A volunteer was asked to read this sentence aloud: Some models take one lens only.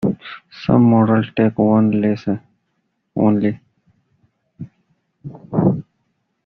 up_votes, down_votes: 0, 2